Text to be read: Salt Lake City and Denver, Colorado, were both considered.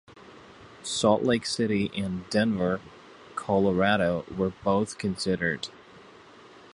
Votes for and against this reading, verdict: 2, 1, accepted